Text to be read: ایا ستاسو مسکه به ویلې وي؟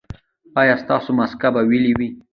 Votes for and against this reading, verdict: 1, 2, rejected